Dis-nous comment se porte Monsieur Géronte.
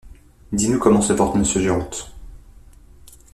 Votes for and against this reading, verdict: 2, 0, accepted